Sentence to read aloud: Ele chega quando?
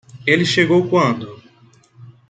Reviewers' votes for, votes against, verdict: 0, 2, rejected